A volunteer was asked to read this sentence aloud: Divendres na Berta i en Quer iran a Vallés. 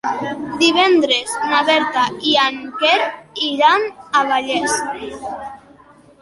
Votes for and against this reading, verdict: 2, 1, accepted